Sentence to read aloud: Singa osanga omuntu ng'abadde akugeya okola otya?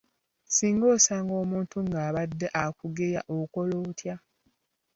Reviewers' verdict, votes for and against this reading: accepted, 2, 0